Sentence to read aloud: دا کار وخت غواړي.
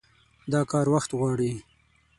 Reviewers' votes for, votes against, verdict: 6, 0, accepted